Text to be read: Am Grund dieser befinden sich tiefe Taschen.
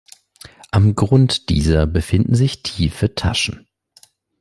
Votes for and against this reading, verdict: 2, 0, accepted